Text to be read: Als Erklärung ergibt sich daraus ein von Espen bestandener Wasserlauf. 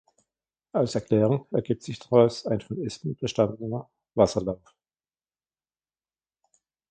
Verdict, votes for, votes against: accepted, 2, 1